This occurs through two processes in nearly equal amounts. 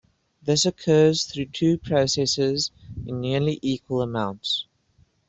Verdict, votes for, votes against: accepted, 2, 0